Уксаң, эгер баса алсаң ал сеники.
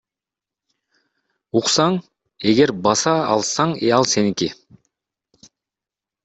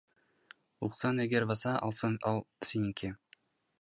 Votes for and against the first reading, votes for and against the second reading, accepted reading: 1, 2, 2, 1, second